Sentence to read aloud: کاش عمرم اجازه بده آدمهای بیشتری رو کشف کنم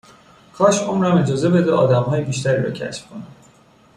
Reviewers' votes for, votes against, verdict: 2, 0, accepted